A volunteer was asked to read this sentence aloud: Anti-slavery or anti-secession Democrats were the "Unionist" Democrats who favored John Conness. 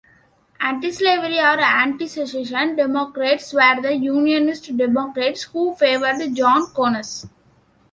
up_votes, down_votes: 1, 2